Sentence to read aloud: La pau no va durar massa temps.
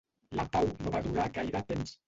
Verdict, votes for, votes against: rejected, 1, 2